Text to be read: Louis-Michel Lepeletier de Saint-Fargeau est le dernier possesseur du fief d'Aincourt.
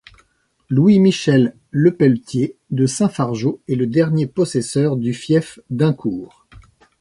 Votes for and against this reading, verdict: 2, 0, accepted